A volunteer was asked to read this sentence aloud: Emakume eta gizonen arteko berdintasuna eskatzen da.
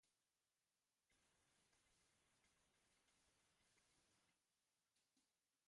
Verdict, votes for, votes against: rejected, 0, 2